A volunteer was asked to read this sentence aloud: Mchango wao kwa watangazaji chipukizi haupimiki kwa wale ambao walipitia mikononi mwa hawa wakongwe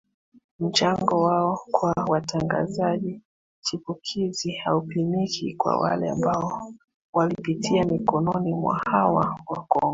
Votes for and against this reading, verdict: 2, 1, accepted